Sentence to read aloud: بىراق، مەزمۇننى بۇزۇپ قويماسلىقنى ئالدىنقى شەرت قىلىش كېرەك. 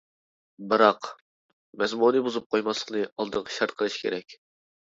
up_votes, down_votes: 0, 2